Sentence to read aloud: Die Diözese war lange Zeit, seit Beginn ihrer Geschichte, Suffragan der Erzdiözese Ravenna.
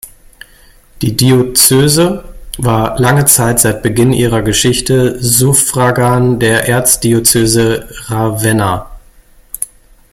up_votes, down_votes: 0, 2